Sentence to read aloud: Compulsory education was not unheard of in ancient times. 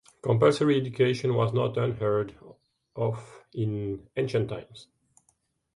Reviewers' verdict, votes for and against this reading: accepted, 2, 0